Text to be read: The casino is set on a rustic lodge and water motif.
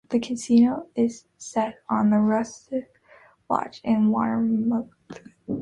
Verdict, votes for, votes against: rejected, 0, 3